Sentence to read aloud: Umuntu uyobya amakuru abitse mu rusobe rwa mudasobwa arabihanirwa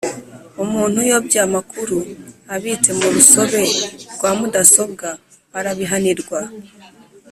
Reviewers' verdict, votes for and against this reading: accepted, 2, 0